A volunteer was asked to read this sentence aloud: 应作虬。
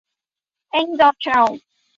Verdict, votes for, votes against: rejected, 2, 6